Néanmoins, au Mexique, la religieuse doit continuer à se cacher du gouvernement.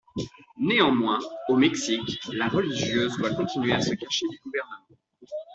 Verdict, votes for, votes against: rejected, 1, 2